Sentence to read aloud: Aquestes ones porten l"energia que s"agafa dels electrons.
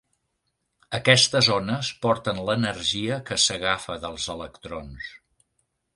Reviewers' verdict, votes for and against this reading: accepted, 2, 0